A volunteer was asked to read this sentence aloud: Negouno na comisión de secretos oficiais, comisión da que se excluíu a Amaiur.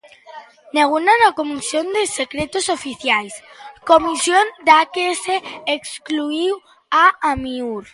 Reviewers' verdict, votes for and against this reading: rejected, 0, 2